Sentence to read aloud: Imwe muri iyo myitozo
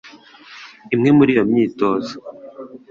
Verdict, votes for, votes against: accepted, 2, 0